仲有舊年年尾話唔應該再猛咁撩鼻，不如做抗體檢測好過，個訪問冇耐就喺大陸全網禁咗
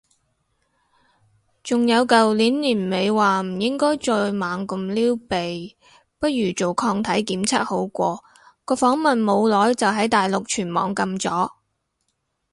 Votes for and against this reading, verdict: 2, 2, rejected